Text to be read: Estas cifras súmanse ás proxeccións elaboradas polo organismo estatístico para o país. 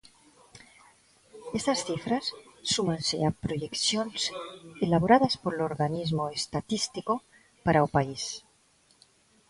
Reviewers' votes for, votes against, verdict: 0, 2, rejected